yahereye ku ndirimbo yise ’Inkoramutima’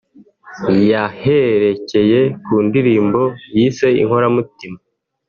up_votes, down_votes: 0, 3